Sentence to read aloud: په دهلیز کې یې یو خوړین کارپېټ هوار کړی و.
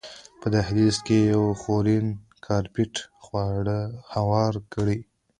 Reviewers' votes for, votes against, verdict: 1, 2, rejected